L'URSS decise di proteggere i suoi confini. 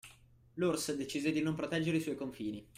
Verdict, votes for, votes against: rejected, 0, 2